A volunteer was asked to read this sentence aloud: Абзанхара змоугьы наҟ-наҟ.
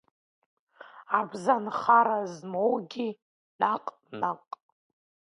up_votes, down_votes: 2, 0